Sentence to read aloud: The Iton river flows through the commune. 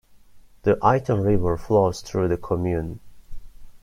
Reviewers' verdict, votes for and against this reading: accepted, 2, 0